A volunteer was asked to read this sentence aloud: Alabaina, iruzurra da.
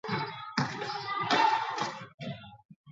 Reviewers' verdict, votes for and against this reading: rejected, 0, 6